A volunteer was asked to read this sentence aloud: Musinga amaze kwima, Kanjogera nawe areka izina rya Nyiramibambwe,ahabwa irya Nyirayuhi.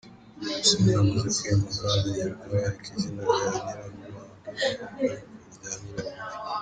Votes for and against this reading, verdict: 0, 2, rejected